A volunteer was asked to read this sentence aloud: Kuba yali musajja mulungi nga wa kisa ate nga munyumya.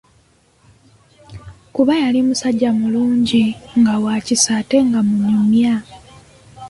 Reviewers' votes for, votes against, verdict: 2, 0, accepted